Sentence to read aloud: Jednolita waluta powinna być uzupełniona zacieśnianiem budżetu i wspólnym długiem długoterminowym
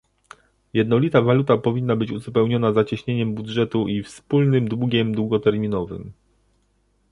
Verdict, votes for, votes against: rejected, 1, 2